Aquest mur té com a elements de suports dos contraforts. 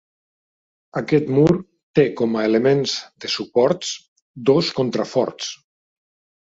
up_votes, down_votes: 2, 0